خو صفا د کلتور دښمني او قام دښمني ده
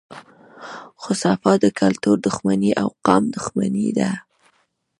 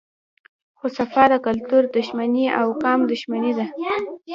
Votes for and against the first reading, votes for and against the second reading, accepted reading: 1, 2, 2, 0, second